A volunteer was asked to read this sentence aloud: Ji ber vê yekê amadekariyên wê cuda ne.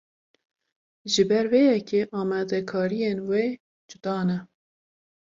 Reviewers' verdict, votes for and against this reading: accepted, 2, 0